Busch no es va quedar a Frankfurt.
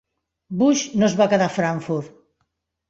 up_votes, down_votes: 3, 0